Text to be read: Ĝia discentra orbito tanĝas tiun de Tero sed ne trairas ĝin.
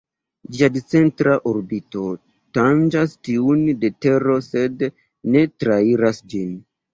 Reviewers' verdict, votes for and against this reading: rejected, 1, 2